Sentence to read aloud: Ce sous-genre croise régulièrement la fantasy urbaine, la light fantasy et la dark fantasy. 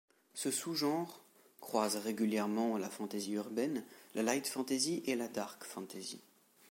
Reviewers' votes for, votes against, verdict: 2, 0, accepted